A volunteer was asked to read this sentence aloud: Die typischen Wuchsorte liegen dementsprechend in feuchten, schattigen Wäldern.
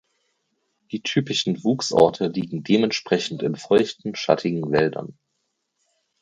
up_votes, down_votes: 4, 0